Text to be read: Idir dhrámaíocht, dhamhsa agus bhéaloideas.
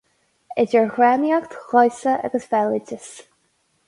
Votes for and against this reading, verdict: 4, 0, accepted